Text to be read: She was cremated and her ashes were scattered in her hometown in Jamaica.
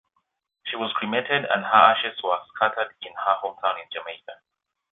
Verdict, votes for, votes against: accepted, 2, 1